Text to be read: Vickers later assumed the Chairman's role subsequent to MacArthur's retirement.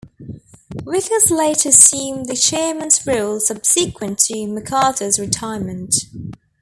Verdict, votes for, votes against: accepted, 2, 0